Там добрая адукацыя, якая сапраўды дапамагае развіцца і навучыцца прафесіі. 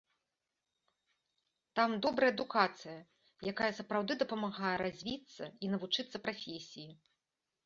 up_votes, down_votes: 2, 0